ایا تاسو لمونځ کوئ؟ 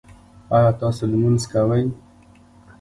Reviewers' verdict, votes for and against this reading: accepted, 3, 1